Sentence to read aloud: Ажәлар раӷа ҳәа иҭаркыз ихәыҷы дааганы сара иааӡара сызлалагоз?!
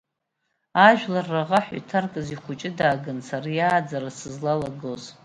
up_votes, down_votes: 2, 0